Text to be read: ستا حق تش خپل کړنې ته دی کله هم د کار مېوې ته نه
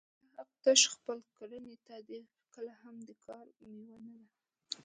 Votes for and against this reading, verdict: 0, 2, rejected